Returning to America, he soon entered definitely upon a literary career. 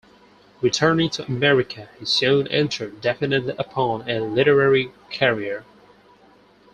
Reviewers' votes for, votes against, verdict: 0, 4, rejected